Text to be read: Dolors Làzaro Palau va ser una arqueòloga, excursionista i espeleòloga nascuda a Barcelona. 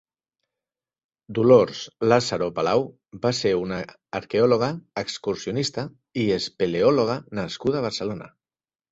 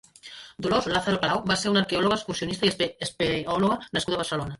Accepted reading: first